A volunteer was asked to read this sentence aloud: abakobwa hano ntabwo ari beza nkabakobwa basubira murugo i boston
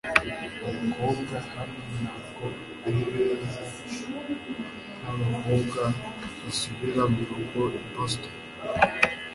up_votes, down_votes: 2, 0